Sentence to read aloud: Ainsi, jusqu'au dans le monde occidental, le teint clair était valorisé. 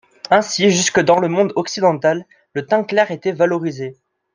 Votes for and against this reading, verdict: 0, 2, rejected